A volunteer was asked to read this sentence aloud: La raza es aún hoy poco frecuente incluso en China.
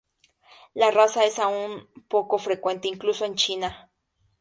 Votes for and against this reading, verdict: 0, 2, rejected